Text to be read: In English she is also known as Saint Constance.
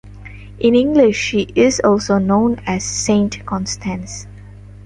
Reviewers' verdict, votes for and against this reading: accepted, 2, 0